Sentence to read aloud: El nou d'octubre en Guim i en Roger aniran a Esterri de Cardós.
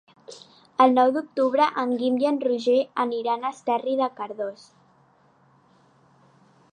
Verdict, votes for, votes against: accepted, 3, 0